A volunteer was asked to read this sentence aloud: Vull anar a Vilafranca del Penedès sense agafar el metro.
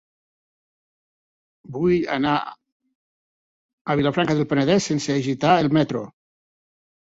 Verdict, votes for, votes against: rejected, 0, 2